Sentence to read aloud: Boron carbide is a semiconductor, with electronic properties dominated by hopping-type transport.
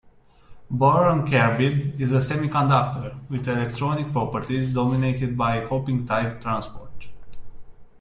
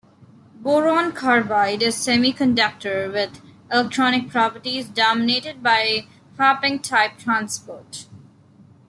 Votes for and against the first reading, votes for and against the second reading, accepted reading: 2, 0, 0, 2, first